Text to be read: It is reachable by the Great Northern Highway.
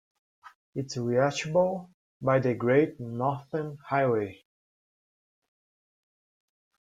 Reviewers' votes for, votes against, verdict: 2, 0, accepted